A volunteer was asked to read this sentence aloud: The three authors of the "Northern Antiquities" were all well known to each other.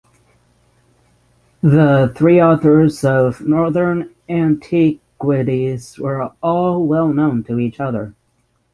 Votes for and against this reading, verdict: 3, 3, rejected